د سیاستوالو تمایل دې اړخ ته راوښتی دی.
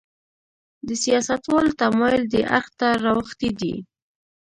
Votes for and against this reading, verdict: 1, 2, rejected